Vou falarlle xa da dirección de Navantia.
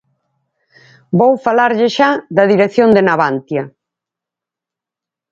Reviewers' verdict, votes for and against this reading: accepted, 4, 0